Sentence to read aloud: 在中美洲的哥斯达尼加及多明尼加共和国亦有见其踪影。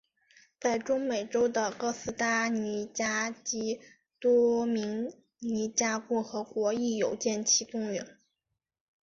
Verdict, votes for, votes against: accepted, 2, 0